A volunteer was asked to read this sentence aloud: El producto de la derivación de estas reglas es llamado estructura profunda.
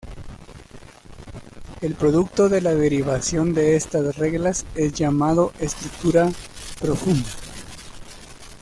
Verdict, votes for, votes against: rejected, 0, 2